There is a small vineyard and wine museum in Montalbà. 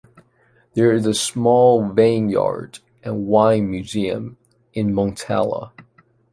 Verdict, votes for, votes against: rejected, 0, 2